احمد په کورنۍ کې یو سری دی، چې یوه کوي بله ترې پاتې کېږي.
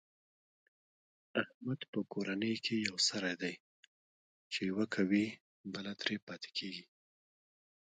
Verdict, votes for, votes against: accepted, 2, 1